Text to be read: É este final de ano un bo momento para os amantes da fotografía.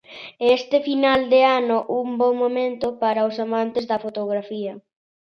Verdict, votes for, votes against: accepted, 2, 0